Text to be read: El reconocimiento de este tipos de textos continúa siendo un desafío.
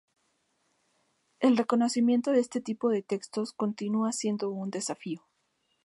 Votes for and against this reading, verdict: 2, 0, accepted